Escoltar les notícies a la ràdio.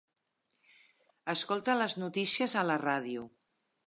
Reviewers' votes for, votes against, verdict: 0, 3, rejected